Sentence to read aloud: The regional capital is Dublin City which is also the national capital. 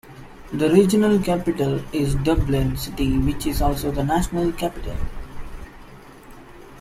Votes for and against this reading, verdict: 2, 0, accepted